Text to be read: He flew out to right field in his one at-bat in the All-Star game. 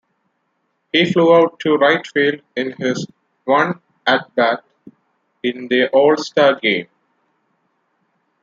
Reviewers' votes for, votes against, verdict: 2, 0, accepted